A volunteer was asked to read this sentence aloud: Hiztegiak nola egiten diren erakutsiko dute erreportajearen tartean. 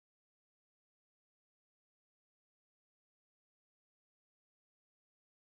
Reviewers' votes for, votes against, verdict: 0, 4, rejected